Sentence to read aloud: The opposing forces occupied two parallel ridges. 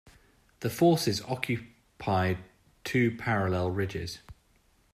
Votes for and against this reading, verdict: 1, 2, rejected